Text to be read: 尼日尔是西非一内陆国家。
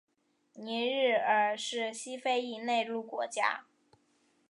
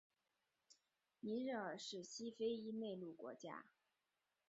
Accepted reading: first